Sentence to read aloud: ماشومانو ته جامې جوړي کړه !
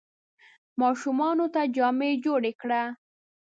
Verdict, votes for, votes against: accepted, 2, 0